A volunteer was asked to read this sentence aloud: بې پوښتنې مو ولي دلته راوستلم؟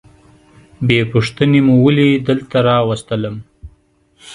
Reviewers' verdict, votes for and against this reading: accepted, 2, 0